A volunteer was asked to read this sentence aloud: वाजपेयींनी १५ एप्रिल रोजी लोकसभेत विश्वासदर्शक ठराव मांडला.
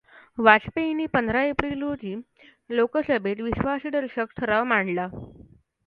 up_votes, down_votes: 0, 2